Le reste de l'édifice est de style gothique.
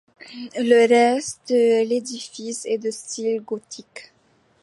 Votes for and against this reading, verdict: 1, 2, rejected